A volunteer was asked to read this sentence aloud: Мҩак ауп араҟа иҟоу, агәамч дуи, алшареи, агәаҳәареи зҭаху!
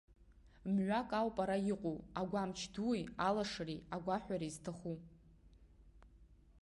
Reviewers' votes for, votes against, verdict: 2, 1, accepted